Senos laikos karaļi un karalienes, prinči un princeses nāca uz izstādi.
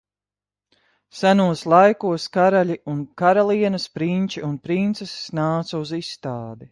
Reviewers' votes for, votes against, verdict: 2, 0, accepted